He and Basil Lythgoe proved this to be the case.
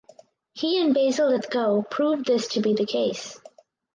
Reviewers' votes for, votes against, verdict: 4, 0, accepted